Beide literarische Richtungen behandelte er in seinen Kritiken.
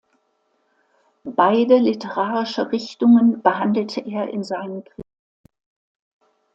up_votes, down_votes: 0, 2